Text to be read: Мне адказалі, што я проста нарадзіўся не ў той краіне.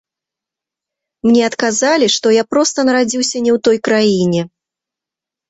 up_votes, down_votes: 1, 2